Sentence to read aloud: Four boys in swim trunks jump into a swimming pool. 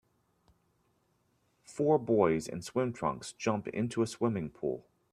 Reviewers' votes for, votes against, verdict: 2, 1, accepted